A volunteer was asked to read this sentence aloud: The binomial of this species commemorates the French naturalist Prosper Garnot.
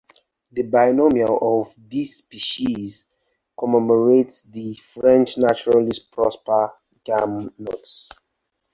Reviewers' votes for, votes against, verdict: 0, 2, rejected